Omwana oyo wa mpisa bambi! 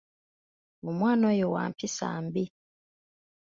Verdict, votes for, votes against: rejected, 1, 2